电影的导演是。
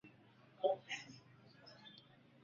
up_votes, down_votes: 0, 3